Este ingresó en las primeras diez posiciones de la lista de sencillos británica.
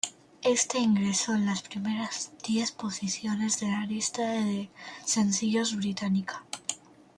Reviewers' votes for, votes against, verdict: 2, 0, accepted